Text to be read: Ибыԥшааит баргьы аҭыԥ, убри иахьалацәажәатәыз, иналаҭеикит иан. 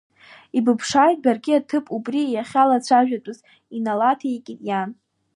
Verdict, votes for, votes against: accepted, 2, 1